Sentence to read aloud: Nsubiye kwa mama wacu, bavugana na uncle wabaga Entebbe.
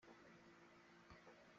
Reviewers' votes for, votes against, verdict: 0, 2, rejected